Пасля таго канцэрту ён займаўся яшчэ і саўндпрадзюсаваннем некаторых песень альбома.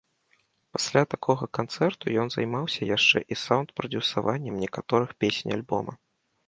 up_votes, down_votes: 1, 2